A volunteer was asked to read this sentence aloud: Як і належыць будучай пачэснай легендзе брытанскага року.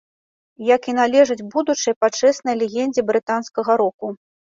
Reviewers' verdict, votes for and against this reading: accepted, 2, 0